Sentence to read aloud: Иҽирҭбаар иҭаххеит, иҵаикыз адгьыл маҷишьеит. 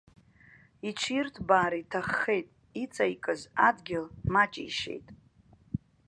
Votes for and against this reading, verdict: 2, 0, accepted